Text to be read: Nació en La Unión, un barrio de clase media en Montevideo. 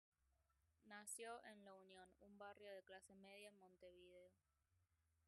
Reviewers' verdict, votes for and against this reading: rejected, 0, 2